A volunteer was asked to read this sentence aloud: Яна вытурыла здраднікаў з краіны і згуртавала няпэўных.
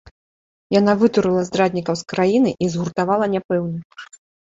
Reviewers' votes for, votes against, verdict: 2, 0, accepted